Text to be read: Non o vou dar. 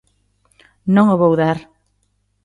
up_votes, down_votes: 2, 0